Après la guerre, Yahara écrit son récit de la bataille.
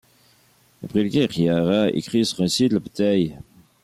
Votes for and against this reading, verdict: 2, 1, accepted